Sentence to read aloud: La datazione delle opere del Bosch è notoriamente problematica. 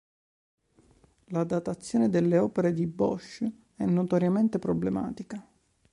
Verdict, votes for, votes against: rejected, 0, 2